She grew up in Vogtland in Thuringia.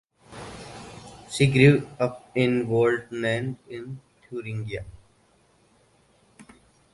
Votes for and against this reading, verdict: 2, 4, rejected